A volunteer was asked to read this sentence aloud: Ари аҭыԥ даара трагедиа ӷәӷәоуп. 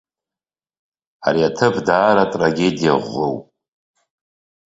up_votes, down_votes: 2, 0